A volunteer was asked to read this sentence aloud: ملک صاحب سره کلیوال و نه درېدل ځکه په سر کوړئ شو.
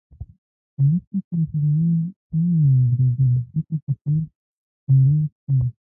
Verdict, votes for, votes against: rejected, 0, 2